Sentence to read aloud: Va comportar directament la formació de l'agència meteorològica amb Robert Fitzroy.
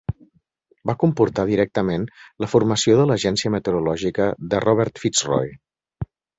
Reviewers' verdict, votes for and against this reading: rejected, 0, 2